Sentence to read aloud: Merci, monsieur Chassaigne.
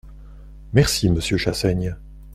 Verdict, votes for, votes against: accepted, 2, 0